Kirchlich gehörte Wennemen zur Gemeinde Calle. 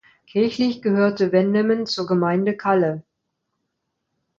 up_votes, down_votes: 2, 0